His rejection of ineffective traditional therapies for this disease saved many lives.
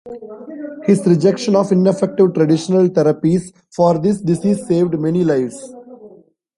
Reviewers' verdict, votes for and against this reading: rejected, 1, 2